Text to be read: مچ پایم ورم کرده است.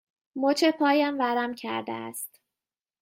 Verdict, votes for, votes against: accepted, 2, 1